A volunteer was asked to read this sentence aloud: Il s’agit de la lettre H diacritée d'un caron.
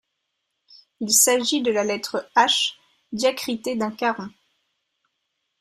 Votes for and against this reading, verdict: 1, 2, rejected